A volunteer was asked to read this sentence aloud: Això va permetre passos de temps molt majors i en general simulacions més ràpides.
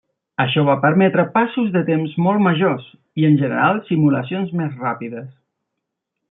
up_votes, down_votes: 3, 0